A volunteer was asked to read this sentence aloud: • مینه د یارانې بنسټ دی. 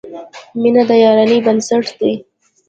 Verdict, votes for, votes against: rejected, 1, 2